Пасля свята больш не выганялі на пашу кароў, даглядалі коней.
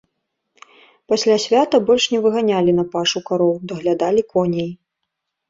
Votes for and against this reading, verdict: 2, 0, accepted